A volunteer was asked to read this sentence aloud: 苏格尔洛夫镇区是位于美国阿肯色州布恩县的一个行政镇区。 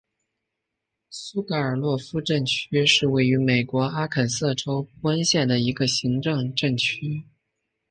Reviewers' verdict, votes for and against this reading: accepted, 2, 1